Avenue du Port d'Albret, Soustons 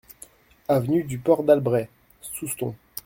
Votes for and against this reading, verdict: 2, 0, accepted